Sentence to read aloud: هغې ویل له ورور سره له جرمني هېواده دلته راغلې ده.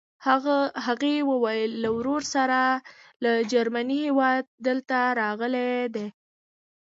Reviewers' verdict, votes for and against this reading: accepted, 2, 0